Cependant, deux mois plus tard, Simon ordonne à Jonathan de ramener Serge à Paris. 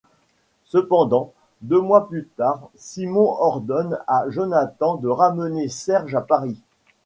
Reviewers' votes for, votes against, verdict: 2, 0, accepted